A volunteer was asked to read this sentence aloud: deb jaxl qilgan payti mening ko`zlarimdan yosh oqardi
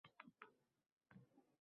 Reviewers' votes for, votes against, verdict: 0, 2, rejected